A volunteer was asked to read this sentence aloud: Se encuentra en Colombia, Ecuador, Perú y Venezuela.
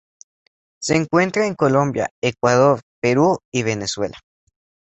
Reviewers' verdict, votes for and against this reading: accepted, 2, 0